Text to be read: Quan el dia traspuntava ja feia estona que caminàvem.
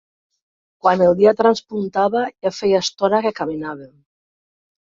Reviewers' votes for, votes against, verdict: 2, 1, accepted